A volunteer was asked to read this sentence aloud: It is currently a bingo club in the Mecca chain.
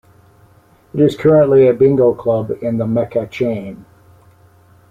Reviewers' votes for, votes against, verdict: 0, 2, rejected